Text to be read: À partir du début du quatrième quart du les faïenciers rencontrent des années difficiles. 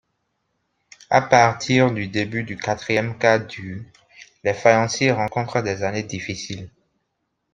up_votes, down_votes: 2, 0